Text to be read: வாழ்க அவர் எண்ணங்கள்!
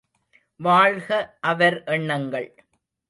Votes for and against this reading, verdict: 0, 2, rejected